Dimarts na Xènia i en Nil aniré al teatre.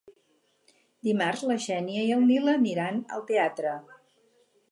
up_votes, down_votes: 0, 4